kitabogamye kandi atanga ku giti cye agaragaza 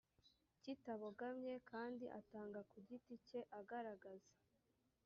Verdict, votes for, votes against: rejected, 1, 2